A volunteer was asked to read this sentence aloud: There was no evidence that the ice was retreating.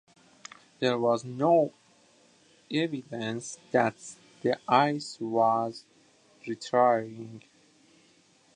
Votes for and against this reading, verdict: 0, 2, rejected